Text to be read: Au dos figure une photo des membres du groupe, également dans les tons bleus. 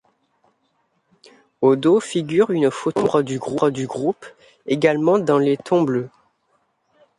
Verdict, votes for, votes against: rejected, 0, 2